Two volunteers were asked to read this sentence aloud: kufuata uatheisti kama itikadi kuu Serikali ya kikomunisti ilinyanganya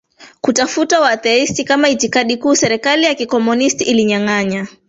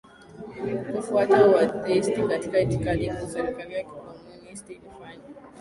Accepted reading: first